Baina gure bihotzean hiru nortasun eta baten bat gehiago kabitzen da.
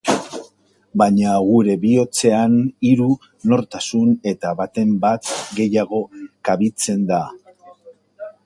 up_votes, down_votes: 1, 2